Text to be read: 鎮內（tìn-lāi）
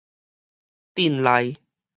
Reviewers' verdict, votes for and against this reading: accepted, 4, 0